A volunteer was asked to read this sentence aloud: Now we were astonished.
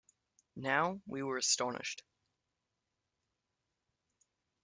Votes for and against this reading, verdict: 2, 0, accepted